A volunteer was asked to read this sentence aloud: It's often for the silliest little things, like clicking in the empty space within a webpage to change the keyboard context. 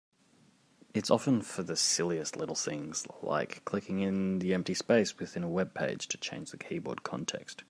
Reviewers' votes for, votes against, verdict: 3, 0, accepted